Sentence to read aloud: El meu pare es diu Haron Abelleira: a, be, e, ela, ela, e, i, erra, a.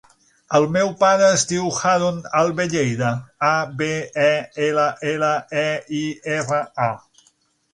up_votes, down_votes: 0, 6